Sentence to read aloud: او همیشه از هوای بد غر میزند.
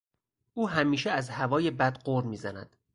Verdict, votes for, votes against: accepted, 4, 0